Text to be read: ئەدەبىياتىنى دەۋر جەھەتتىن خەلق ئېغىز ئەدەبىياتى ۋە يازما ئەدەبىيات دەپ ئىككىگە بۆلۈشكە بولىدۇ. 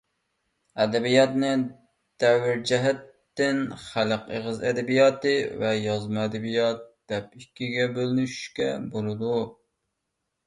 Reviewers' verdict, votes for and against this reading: rejected, 0, 2